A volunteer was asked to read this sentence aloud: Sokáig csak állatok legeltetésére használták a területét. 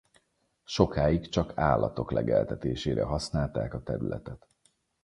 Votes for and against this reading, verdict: 0, 4, rejected